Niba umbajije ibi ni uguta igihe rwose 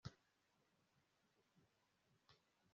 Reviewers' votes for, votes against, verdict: 1, 2, rejected